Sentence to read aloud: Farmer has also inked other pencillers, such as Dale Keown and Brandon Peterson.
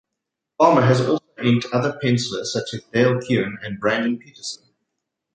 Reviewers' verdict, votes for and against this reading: accepted, 2, 0